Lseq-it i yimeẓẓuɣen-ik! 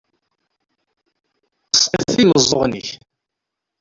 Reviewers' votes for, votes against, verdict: 0, 2, rejected